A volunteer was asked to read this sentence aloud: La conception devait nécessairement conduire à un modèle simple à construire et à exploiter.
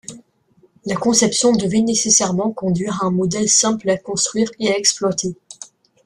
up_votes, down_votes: 2, 0